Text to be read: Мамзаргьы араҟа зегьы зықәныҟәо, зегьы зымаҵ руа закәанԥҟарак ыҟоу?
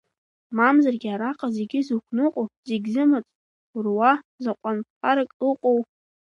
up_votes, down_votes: 0, 2